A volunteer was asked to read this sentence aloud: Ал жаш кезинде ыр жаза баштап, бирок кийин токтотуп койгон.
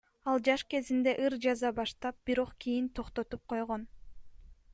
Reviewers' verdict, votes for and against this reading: accepted, 2, 0